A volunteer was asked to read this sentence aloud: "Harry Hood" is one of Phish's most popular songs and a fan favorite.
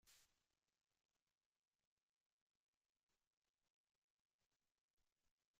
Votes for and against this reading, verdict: 0, 2, rejected